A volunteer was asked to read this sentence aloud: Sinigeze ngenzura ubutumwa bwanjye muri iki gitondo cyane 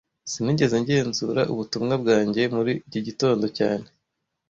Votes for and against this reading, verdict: 2, 0, accepted